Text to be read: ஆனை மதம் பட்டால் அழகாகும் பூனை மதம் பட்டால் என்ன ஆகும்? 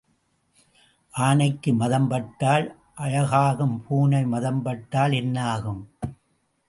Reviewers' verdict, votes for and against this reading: rejected, 0, 2